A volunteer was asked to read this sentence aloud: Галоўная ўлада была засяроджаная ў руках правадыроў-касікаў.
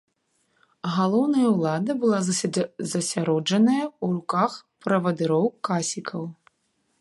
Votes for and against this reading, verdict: 0, 2, rejected